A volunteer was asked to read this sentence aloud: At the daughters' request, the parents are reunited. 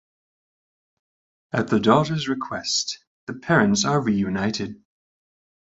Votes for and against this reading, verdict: 2, 1, accepted